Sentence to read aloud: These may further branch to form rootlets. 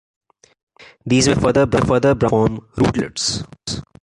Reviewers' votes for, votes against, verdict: 0, 2, rejected